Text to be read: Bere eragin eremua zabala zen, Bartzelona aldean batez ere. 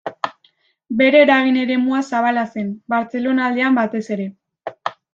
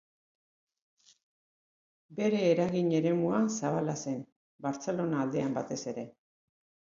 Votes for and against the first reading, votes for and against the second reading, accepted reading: 2, 0, 1, 3, first